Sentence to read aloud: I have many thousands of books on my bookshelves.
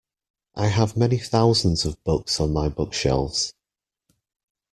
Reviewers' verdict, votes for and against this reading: accepted, 2, 0